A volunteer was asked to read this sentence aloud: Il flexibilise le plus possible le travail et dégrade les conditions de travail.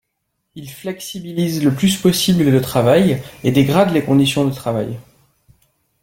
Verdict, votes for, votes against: accepted, 2, 0